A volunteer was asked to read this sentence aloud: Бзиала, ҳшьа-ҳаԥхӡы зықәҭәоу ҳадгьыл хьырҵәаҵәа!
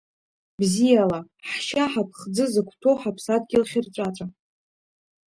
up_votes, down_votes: 0, 2